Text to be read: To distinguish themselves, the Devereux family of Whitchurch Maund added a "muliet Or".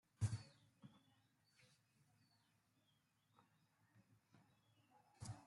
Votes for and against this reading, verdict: 0, 2, rejected